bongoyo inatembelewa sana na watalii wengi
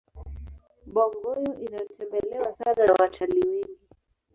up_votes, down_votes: 2, 0